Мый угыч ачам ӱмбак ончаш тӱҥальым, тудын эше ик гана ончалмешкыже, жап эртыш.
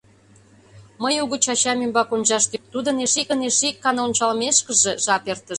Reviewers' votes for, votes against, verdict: 0, 2, rejected